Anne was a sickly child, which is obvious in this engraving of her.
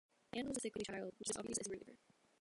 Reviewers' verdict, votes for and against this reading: rejected, 0, 2